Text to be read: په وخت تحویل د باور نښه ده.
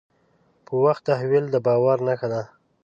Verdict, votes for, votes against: accepted, 2, 0